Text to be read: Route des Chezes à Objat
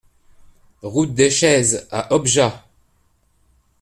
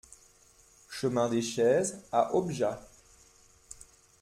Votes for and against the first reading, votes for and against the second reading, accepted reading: 2, 0, 0, 2, first